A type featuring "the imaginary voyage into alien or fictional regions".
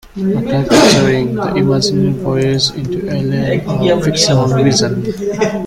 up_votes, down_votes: 0, 2